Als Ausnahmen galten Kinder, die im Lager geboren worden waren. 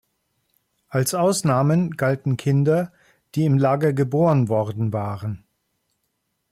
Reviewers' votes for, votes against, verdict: 2, 0, accepted